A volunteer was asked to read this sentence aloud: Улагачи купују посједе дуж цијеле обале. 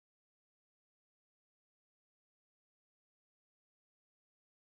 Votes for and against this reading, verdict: 0, 2, rejected